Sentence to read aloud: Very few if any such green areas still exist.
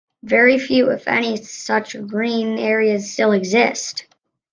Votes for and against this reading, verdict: 2, 1, accepted